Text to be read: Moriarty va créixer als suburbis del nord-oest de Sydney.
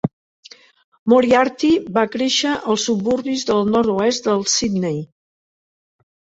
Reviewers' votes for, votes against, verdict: 0, 2, rejected